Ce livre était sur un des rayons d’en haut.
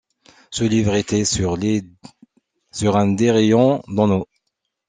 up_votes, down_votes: 0, 2